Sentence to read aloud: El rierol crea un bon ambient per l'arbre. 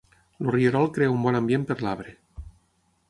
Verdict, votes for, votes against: accepted, 6, 3